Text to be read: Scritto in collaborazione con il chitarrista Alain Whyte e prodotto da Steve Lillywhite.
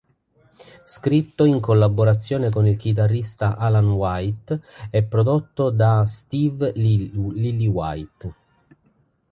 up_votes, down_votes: 0, 2